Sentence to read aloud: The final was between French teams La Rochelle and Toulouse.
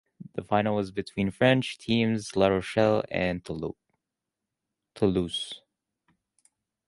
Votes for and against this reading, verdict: 0, 2, rejected